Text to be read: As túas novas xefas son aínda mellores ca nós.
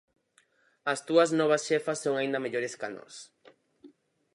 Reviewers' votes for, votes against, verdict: 4, 0, accepted